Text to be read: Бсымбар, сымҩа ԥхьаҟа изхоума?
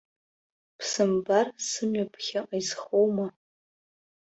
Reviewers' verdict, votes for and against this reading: rejected, 0, 2